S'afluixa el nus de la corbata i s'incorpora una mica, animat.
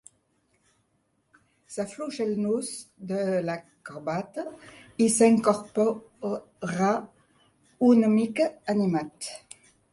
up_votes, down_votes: 1, 2